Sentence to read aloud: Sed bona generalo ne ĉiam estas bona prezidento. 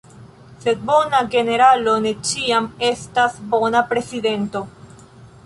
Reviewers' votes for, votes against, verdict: 2, 1, accepted